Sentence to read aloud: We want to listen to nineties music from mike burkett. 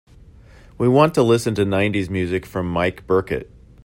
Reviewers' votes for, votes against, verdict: 2, 0, accepted